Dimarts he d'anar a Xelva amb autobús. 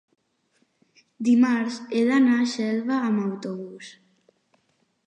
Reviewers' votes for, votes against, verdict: 3, 0, accepted